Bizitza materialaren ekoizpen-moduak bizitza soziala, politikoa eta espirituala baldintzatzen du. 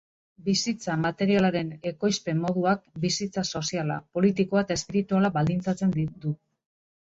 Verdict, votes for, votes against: rejected, 0, 2